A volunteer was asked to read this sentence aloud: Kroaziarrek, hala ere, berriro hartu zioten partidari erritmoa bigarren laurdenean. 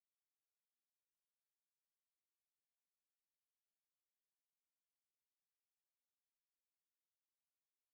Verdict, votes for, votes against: rejected, 0, 3